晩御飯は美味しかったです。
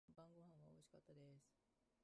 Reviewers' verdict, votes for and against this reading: rejected, 1, 2